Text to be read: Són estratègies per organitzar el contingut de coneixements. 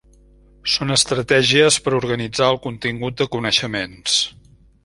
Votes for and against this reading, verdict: 3, 0, accepted